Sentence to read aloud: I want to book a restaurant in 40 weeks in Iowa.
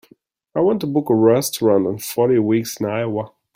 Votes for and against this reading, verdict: 0, 2, rejected